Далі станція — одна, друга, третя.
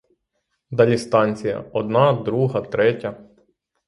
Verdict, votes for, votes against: accepted, 6, 0